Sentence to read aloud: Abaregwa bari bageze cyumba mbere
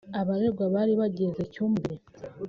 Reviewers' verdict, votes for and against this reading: rejected, 0, 2